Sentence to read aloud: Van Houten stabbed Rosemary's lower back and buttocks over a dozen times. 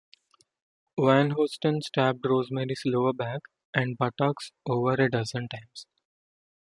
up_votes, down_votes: 1, 2